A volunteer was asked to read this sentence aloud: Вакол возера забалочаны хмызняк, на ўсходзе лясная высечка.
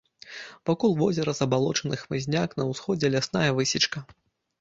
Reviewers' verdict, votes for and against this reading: accepted, 2, 0